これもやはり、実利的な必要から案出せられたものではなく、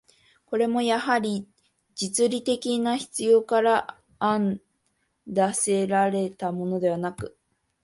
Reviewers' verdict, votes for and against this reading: accepted, 2, 0